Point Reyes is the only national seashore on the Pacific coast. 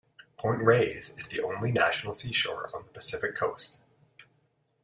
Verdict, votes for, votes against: accepted, 2, 0